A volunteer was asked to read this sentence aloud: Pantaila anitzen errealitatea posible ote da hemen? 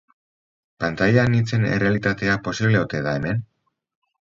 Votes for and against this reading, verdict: 4, 0, accepted